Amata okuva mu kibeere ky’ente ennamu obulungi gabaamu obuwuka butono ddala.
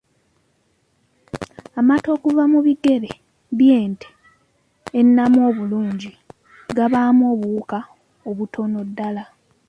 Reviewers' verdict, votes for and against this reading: rejected, 0, 2